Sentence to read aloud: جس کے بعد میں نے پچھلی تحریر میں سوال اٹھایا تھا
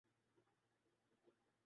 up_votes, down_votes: 0, 2